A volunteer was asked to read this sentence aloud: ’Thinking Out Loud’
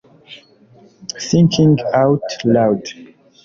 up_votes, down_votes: 1, 2